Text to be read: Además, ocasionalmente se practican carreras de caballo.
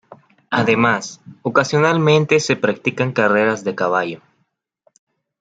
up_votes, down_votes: 2, 1